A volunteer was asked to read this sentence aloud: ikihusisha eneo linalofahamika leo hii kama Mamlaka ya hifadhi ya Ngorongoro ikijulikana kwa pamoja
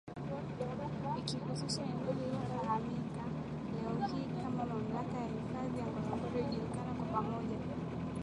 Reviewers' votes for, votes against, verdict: 0, 2, rejected